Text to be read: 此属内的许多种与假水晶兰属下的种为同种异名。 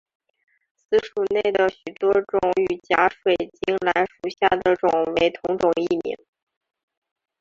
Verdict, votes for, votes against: rejected, 0, 2